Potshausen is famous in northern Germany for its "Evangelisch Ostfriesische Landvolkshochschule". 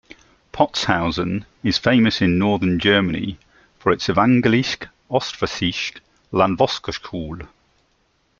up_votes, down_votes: 0, 2